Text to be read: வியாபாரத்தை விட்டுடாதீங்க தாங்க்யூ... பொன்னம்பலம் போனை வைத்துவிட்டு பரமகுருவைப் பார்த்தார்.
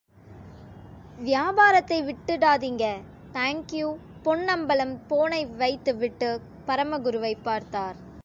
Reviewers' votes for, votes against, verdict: 2, 0, accepted